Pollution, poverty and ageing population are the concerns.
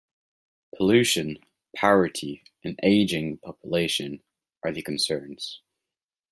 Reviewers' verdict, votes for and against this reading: rejected, 0, 2